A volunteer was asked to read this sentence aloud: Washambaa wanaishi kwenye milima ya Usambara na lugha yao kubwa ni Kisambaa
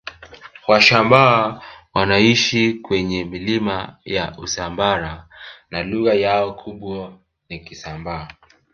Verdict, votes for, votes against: accepted, 2, 1